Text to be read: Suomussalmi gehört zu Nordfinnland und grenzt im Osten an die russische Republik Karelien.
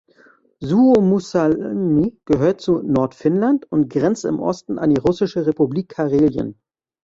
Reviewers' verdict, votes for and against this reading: rejected, 0, 2